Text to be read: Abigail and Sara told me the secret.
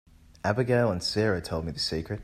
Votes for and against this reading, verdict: 2, 0, accepted